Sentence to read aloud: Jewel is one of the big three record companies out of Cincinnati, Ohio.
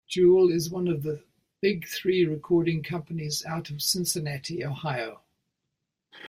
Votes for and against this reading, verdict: 1, 2, rejected